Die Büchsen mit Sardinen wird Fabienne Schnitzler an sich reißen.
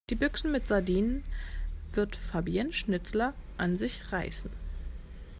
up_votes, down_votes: 2, 0